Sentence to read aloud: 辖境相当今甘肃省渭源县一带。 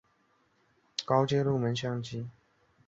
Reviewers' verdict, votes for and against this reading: rejected, 0, 8